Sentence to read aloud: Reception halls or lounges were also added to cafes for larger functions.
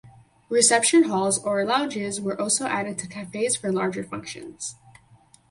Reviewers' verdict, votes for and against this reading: accepted, 4, 0